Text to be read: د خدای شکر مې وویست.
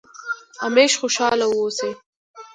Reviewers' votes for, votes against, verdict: 0, 2, rejected